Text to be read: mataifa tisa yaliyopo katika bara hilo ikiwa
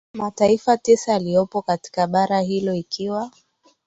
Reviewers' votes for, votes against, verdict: 3, 0, accepted